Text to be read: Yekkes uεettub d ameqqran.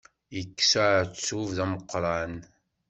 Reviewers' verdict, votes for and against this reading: accepted, 2, 0